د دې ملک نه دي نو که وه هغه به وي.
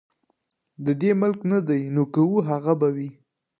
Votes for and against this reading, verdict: 2, 0, accepted